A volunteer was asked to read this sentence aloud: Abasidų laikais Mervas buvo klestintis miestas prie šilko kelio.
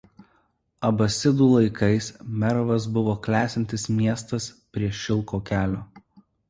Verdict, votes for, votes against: accepted, 2, 0